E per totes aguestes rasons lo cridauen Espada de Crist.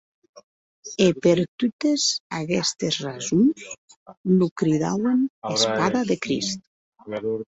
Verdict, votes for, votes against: accepted, 2, 0